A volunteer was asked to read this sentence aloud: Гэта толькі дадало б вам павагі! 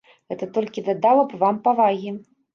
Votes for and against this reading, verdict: 1, 2, rejected